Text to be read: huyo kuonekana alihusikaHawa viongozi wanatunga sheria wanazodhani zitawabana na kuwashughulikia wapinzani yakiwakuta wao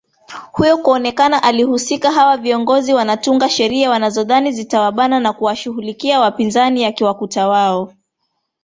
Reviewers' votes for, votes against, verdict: 0, 2, rejected